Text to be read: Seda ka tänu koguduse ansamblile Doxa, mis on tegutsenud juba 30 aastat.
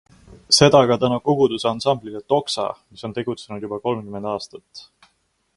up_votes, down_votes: 0, 2